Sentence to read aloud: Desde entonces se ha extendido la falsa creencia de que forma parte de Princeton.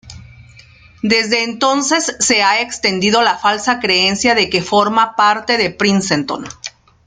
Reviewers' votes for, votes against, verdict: 2, 1, accepted